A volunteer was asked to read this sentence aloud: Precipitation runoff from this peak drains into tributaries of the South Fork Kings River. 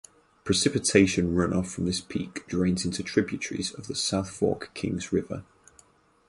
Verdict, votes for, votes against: accepted, 4, 0